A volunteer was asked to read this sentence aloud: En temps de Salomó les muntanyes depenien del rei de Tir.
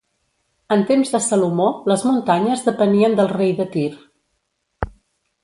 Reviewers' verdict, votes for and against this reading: accepted, 3, 0